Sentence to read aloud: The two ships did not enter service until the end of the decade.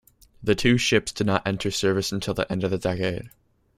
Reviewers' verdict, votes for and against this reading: accepted, 2, 0